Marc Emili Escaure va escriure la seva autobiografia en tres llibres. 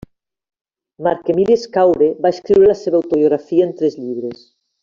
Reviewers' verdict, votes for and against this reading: rejected, 0, 2